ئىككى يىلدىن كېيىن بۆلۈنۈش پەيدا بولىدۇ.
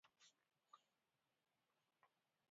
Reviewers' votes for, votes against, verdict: 0, 2, rejected